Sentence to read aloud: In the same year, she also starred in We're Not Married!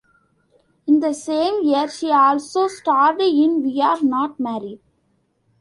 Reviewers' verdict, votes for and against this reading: accepted, 2, 1